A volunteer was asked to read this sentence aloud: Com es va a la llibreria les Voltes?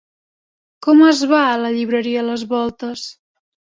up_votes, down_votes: 3, 0